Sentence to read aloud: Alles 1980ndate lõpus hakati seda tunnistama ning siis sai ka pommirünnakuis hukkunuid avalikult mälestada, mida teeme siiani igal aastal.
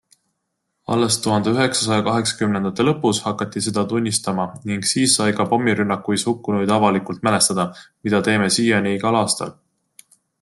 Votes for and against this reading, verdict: 0, 2, rejected